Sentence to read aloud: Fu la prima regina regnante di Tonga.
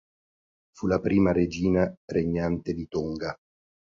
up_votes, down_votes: 2, 0